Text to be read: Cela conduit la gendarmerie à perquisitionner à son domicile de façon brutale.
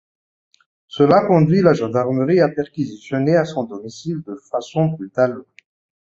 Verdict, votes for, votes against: accepted, 2, 1